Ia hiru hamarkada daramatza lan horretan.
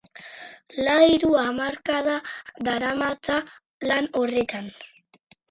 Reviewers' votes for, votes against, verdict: 4, 2, accepted